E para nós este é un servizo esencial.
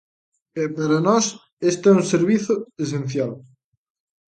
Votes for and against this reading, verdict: 2, 0, accepted